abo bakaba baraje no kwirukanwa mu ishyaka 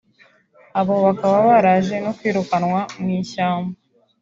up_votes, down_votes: 0, 2